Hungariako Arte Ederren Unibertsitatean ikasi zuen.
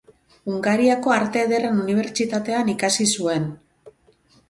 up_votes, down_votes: 4, 0